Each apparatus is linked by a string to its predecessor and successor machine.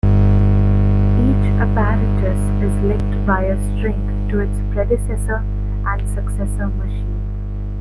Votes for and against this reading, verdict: 1, 2, rejected